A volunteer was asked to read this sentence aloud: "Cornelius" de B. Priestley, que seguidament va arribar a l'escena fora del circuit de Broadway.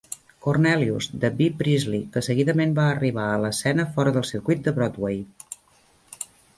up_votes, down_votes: 2, 0